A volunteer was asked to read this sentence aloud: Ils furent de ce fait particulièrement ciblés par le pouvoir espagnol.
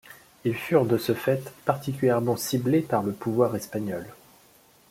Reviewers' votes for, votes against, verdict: 2, 0, accepted